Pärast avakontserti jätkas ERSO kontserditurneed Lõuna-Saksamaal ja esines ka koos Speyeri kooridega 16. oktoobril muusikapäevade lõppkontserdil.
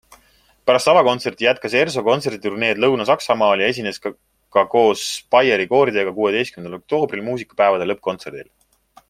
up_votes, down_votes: 0, 2